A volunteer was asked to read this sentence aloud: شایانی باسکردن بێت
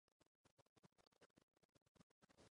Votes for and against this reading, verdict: 0, 2, rejected